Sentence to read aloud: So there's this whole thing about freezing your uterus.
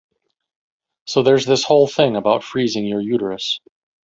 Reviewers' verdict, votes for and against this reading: rejected, 1, 2